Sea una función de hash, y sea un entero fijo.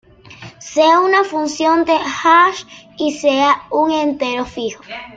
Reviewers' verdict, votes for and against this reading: accepted, 2, 0